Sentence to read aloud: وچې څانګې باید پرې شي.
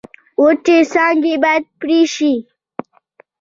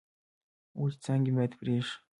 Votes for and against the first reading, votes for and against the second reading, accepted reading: 0, 2, 2, 0, second